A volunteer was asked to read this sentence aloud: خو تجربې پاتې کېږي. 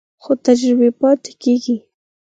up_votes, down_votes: 6, 2